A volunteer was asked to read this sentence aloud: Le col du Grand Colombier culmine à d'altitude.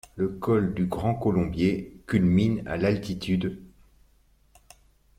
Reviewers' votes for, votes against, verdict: 1, 2, rejected